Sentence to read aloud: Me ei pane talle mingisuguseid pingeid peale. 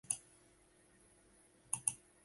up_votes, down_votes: 0, 2